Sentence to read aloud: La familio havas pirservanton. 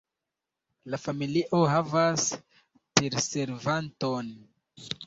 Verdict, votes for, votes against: rejected, 0, 2